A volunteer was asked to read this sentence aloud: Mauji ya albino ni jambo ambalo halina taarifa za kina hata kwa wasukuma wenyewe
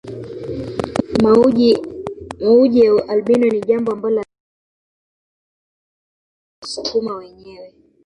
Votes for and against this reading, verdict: 0, 2, rejected